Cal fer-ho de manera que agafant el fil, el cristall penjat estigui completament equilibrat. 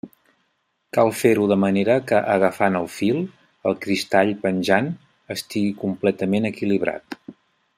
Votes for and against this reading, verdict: 1, 2, rejected